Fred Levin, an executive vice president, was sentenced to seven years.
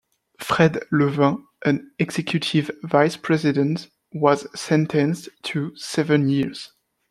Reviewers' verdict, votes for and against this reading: accepted, 2, 0